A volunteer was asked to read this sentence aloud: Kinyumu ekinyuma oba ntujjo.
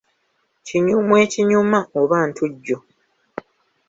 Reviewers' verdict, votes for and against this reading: accepted, 2, 0